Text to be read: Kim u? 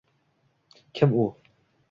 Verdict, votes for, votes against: rejected, 1, 2